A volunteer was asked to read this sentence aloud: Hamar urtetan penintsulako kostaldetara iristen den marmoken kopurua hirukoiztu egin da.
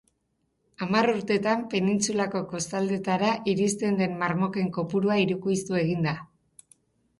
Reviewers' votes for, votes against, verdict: 4, 0, accepted